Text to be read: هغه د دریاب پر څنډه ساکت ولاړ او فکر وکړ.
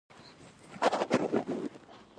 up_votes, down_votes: 0, 2